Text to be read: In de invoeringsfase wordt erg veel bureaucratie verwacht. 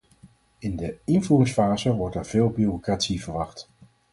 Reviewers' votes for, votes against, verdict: 2, 2, rejected